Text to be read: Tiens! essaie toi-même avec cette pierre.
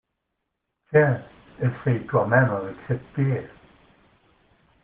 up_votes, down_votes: 2, 0